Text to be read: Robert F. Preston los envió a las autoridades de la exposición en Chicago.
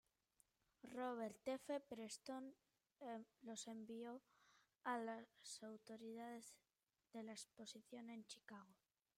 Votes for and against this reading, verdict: 1, 2, rejected